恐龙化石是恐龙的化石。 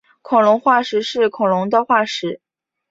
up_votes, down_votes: 6, 0